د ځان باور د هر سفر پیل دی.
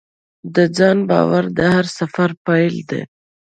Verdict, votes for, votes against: accepted, 2, 0